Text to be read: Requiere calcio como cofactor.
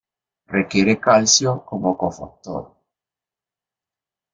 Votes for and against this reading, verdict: 2, 0, accepted